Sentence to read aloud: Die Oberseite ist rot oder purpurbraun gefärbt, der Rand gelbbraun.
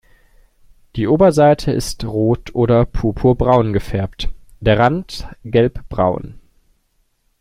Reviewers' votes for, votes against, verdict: 2, 0, accepted